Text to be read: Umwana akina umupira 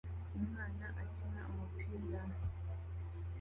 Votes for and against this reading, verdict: 2, 0, accepted